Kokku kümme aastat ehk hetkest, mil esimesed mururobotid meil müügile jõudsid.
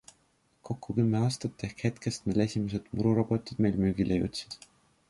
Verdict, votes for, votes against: accepted, 2, 0